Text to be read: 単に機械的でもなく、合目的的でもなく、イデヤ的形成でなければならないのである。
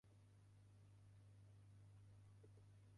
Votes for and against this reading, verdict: 0, 2, rejected